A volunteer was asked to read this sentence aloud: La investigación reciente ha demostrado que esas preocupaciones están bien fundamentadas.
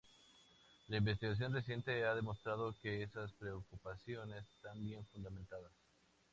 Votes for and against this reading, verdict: 0, 2, rejected